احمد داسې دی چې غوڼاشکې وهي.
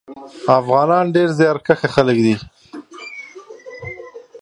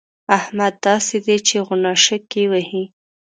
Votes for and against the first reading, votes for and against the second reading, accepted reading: 0, 2, 2, 0, second